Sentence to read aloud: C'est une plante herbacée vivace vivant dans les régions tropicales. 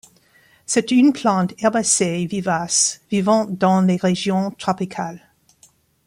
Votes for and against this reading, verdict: 2, 0, accepted